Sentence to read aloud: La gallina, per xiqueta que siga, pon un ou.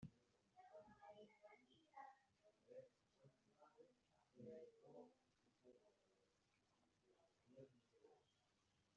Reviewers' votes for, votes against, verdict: 0, 2, rejected